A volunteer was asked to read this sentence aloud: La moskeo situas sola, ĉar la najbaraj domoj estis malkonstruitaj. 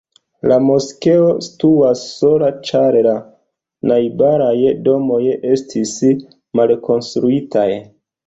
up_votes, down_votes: 2, 0